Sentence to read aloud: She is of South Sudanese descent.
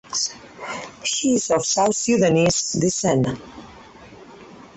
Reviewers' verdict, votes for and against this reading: accepted, 4, 2